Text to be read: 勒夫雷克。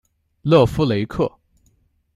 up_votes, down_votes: 2, 0